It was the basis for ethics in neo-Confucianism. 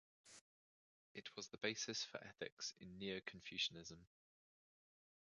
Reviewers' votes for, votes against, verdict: 2, 0, accepted